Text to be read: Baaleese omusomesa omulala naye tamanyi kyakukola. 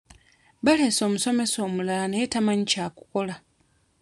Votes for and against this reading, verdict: 2, 1, accepted